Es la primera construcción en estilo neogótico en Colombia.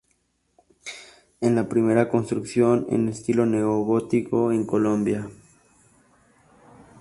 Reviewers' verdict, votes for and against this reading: rejected, 2, 2